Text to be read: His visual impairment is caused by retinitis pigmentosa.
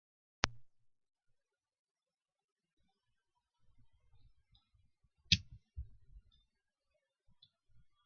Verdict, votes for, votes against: rejected, 0, 3